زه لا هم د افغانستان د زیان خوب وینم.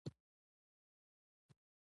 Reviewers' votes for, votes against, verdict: 2, 1, accepted